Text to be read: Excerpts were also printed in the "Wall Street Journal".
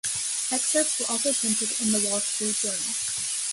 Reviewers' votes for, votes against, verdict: 2, 1, accepted